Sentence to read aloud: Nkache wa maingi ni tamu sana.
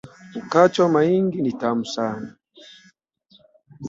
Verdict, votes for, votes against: accepted, 2, 1